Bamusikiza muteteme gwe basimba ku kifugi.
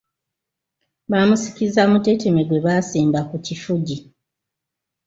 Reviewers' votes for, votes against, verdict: 2, 0, accepted